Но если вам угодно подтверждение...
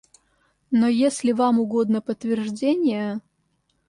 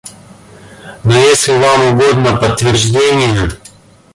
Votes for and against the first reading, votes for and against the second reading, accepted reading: 2, 0, 1, 2, first